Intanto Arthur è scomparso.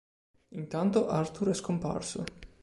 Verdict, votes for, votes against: accepted, 2, 0